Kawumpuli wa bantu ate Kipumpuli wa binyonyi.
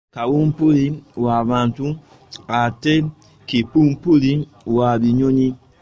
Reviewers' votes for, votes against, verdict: 0, 2, rejected